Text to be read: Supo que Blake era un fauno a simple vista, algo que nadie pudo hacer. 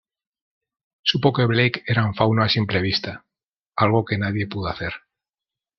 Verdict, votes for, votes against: accepted, 2, 0